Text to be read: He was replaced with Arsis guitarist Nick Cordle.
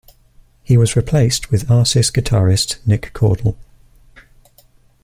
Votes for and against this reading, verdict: 2, 0, accepted